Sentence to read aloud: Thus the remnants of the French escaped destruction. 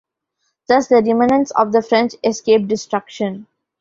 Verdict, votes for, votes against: rejected, 0, 2